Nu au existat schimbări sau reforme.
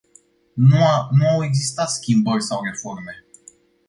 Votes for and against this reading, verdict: 0, 2, rejected